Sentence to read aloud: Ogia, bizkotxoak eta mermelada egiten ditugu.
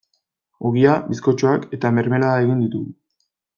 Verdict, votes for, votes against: rejected, 1, 2